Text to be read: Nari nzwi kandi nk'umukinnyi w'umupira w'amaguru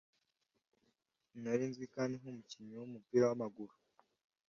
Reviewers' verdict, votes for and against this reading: accepted, 2, 0